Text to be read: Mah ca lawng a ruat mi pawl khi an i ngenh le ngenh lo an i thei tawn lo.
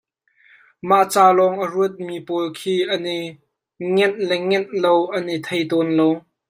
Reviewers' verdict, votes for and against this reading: rejected, 0, 2